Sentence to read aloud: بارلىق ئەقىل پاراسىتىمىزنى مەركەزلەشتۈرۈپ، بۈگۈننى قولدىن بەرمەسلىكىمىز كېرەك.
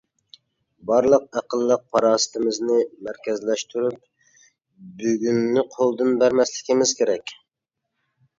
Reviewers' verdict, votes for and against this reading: rejected, 0, 2